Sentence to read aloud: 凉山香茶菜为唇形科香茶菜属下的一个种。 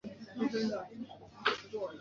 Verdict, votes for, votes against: rejected, 1, 3